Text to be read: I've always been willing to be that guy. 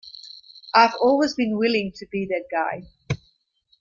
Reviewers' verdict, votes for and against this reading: accepted, 2, 0